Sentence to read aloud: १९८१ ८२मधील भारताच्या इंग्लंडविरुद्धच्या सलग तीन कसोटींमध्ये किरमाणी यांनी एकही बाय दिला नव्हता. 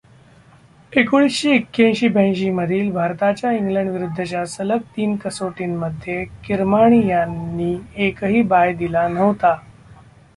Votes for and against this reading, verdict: 0, 2, rejected